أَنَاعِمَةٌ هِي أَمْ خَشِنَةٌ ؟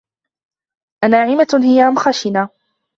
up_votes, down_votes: 2, 1